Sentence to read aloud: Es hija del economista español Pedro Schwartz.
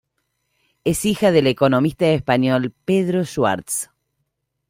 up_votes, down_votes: 2, 0